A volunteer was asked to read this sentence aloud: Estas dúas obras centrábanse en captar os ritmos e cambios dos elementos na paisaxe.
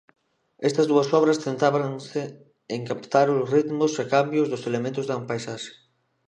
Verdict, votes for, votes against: rejected, 0, 2